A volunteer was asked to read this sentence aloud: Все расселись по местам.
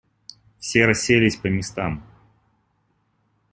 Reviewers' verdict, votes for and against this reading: accepted, 2, 0